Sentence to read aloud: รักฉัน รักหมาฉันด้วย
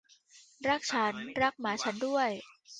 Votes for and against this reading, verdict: 2, 1, accepted